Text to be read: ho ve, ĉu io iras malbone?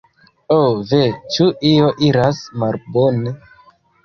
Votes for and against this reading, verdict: 0, 2, rejected